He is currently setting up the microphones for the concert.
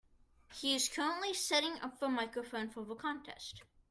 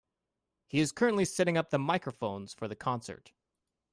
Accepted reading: second